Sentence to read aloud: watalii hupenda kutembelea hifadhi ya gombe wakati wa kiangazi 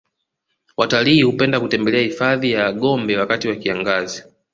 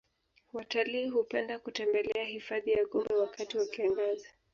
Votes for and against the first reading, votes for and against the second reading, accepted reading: 2, 0, 0, 2, first